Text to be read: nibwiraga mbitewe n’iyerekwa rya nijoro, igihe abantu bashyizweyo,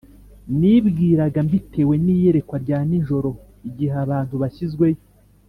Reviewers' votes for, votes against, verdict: 2, 0, accepted